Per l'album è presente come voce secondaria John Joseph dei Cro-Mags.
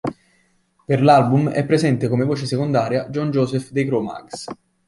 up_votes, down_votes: 2, 0